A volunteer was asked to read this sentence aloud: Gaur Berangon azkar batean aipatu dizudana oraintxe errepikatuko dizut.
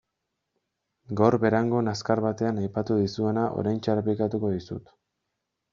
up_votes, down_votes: 2, 0